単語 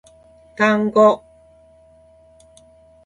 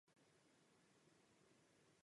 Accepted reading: first